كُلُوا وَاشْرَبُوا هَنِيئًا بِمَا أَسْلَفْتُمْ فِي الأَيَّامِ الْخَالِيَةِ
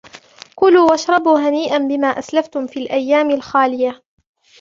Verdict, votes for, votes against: accepted, 2, 0